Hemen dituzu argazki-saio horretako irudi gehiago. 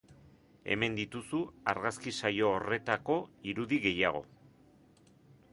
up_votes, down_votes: 2, 0